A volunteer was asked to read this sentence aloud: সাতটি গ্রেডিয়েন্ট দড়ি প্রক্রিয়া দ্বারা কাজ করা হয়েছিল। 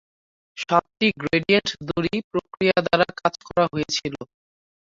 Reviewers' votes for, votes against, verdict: 0, 3, rejected